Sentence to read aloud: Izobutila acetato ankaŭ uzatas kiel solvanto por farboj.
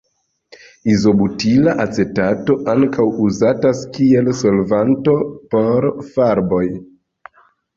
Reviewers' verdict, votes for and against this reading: accepted, 3, 0